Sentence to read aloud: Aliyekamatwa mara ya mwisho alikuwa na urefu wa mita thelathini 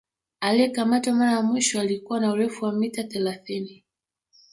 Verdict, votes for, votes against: rejected, 0, 2